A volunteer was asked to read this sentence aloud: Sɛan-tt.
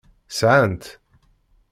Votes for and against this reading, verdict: 2, 0, accepted